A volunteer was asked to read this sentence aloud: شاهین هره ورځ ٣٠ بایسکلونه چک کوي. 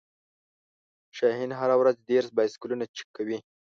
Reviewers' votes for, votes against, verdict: 0, 2, rejected